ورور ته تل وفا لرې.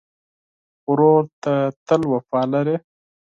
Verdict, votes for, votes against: accepted, 4, 0